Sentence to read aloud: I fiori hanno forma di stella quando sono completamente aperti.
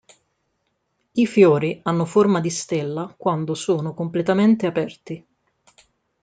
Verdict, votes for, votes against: accepted, 2, 0